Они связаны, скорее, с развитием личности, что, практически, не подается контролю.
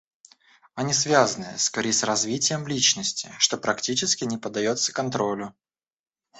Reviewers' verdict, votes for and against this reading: rejected, 1, 2